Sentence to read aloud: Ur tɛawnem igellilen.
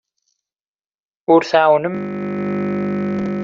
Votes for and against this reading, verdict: 0, 2, rejected